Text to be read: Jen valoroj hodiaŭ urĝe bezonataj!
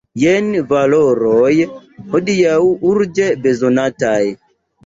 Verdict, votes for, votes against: accepted, 2, 0